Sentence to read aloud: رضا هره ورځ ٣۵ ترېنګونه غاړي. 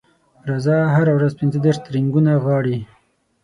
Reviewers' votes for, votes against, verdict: 0, 2, rejected